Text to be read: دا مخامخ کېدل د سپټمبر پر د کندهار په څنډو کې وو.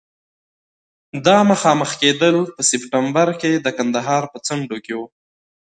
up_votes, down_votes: 2, 1